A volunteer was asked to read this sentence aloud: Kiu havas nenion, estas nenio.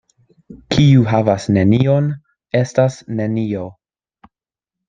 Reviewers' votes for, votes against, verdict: 2, 0, accepted